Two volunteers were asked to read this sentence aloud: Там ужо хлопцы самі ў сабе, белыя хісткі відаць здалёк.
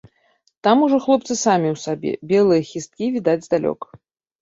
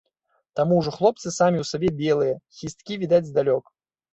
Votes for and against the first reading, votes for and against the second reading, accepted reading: 2, 0, 2, 3, first